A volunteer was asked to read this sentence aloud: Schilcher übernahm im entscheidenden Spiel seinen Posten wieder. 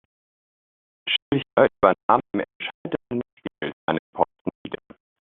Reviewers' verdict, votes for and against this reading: rejected, 0, 2